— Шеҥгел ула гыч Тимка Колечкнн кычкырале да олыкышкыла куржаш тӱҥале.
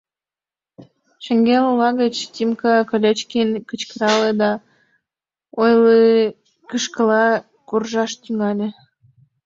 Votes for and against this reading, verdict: 1, 2, rejected